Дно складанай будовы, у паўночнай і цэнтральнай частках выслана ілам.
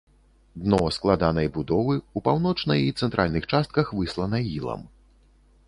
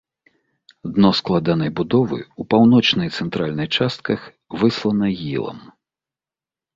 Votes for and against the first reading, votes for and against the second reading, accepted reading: 1, 2, 2, 0, second